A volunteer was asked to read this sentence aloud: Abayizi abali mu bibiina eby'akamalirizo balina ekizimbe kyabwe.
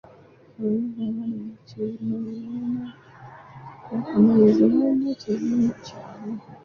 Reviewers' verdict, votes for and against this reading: rejected, 0, 2